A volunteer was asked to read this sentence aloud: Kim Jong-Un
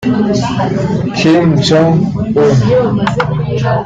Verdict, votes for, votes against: rejected, 0, 2